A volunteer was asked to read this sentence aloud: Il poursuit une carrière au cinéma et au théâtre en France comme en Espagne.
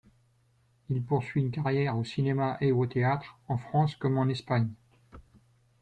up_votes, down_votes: 2, 0